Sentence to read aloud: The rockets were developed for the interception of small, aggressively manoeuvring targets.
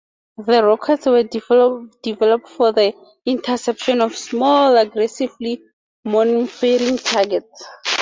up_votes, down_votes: 2, 2